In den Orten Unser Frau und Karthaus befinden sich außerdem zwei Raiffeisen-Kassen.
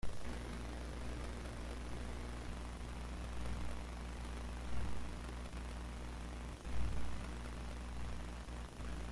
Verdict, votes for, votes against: rejected, 0, 2